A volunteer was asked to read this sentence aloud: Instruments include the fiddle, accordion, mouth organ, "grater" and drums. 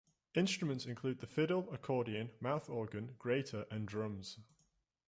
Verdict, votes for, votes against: rejected, 1, 2